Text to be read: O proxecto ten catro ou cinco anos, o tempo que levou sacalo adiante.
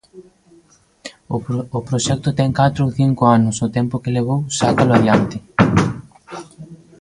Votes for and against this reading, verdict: 0, 2, rejected